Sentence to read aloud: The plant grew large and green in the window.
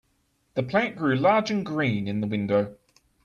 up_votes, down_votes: 2, 1